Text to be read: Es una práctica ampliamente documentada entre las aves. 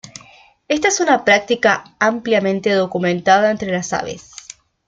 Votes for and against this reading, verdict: 1, 2, rejected